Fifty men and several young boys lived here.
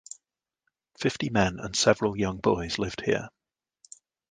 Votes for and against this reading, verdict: 2, 0, accepted